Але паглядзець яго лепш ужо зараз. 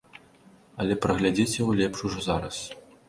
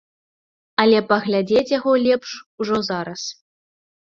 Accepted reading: second